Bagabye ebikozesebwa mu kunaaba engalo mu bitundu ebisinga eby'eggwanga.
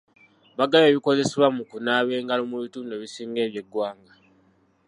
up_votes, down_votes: 1, 2